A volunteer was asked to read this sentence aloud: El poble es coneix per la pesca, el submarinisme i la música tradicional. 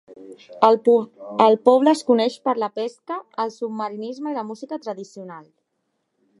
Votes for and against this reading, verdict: 0, 3, rejected